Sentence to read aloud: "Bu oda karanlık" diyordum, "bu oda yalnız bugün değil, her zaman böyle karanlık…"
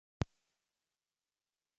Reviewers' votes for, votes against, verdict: 0, 2, rejected